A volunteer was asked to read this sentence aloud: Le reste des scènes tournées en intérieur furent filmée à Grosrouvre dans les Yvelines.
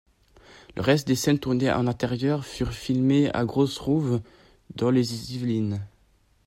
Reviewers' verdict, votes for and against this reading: accepted, 2, 0